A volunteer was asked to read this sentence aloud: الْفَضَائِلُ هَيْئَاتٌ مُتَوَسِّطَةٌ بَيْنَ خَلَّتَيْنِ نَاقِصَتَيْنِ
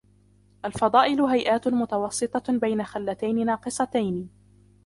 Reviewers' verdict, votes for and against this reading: rejected, 0, 2